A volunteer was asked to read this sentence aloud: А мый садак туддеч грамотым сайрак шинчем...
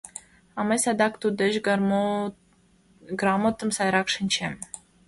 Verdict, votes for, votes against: rejected, 1, 2